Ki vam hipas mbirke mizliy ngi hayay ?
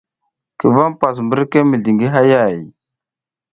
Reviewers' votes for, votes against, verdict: 2, 0, accepted